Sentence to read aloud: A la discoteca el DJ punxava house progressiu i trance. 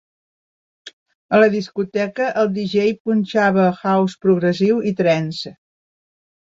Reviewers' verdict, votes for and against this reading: rejected, 1, 2